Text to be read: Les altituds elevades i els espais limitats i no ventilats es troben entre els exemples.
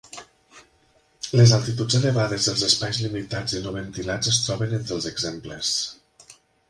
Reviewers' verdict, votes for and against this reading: accepted, 3, 0